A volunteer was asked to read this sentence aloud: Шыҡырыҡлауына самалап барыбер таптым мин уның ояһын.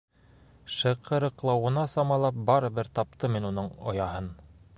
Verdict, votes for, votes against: accepted, 2, 0